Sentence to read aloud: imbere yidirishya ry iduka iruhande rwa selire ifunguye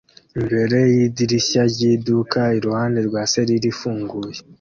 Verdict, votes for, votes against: accepted, 2, 0